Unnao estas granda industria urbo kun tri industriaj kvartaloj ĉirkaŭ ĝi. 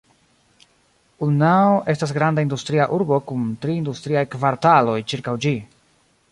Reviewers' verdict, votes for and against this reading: accepted, 2, 1